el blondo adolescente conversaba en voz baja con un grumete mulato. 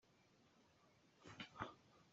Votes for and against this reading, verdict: 0, 2, rejected